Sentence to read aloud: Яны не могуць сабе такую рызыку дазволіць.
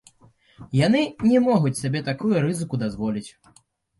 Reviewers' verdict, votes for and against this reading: accepted, 3, 0